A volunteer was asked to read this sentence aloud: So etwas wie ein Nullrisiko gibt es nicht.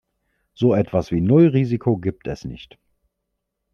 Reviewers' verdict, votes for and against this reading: rejected, 1, 2